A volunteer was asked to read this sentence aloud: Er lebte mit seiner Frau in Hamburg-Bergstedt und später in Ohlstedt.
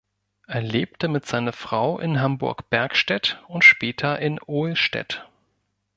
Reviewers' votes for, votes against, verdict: 0, 2, rejected